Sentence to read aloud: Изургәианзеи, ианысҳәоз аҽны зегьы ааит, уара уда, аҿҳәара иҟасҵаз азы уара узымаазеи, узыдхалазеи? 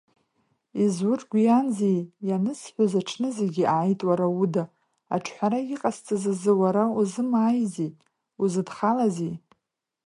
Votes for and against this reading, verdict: 0, 2, rejected